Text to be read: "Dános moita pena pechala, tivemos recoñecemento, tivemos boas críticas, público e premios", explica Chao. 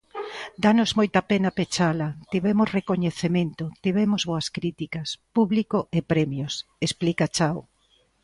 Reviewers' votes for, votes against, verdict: 2, 0, accepted